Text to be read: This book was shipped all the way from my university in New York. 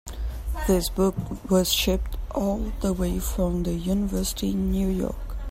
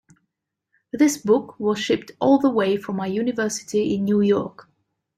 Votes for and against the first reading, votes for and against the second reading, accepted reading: 0, 2, 2, 0, second